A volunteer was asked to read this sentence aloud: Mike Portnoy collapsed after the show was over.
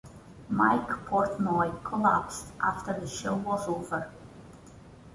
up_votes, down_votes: 2, 0